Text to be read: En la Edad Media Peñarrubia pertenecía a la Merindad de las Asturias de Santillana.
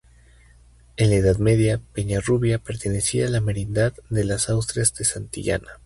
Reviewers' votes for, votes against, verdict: 0, 2, rejected